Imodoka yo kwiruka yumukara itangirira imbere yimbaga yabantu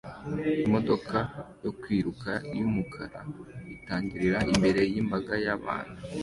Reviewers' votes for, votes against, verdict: 2, 0, accepted